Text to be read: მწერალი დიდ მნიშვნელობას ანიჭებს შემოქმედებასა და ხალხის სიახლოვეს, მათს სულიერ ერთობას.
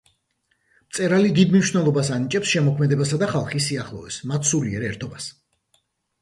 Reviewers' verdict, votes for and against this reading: accepted, 2, 0